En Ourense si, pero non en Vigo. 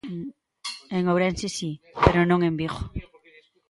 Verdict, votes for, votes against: rejected, 0, 2